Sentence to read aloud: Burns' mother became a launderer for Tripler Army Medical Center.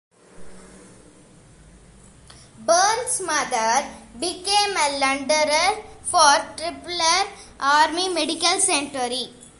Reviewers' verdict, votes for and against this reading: rejected, 1, 2